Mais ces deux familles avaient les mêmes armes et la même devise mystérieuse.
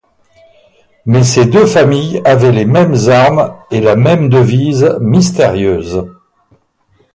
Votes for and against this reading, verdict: 4, 2, accepted